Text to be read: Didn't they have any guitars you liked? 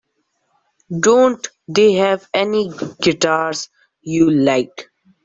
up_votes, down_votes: 0, 2